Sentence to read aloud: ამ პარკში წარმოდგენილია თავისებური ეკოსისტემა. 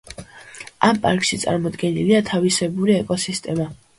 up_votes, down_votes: 2, 0